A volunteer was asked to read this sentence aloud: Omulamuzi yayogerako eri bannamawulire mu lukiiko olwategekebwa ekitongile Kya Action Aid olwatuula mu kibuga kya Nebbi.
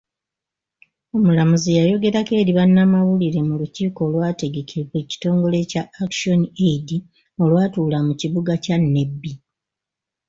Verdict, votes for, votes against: accepted, 2, 0